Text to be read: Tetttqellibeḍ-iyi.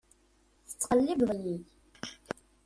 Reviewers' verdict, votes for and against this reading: accepted, 2, 1